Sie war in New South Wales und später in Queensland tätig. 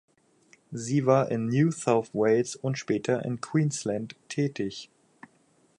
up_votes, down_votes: 4, 0